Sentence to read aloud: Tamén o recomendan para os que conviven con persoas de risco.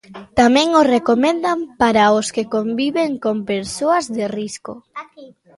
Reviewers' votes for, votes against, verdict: 2, 1, accepted